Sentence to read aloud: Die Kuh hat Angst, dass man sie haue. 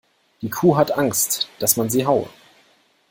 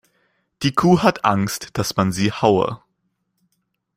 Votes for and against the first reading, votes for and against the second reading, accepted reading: 2, 0, 1, 2, first